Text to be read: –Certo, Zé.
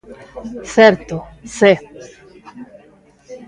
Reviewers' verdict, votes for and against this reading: rejected, 1, 2